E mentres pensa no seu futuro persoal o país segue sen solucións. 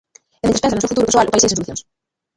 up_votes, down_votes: 0, 2